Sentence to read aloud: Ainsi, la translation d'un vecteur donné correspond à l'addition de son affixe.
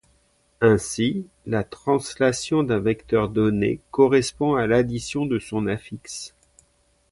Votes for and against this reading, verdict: 2, 0, accepted